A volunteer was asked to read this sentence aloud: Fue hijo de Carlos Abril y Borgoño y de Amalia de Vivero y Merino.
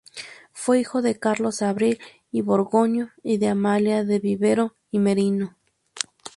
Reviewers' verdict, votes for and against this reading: accepted, 2, 0